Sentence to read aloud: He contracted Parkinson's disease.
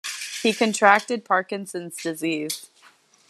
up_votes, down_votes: 2, 0